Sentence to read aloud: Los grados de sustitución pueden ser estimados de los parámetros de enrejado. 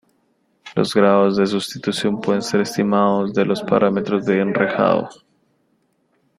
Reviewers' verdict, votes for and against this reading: accepted, 2, 0